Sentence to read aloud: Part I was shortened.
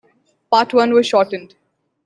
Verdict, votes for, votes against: accepted, 2, 1